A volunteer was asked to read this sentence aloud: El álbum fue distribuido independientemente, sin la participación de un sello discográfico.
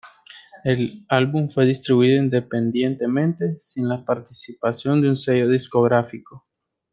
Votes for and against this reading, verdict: 2, 0, accepted